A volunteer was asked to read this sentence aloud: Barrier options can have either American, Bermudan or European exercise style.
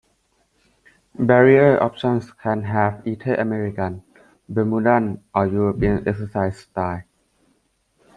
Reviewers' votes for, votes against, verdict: 2, 0, accepted